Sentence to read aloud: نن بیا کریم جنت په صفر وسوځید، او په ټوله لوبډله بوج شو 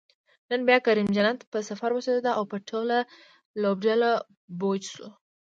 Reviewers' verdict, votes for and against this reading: rejected, 0, 2